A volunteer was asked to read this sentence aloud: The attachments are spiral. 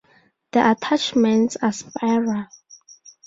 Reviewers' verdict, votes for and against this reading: accepted, 4, 0